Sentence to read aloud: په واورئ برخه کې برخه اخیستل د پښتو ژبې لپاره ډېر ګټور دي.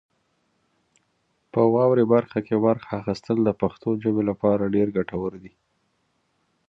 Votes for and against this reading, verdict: 2, 0, accepted